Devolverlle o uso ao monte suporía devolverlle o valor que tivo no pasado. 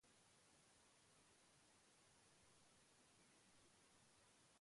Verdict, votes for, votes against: rejected, 0, 2